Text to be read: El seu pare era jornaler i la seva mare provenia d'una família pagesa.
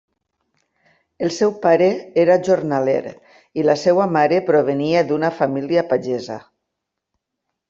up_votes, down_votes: 2, 0